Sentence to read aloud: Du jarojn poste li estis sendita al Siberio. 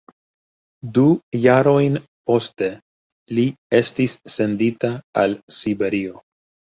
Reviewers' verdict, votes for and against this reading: rejected, 1, 2